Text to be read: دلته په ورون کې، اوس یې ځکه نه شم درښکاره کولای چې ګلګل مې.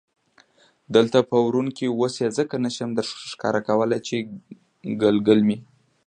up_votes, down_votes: 2, 0